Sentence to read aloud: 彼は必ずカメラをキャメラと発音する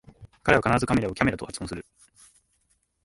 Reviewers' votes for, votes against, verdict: 0, 2, rejected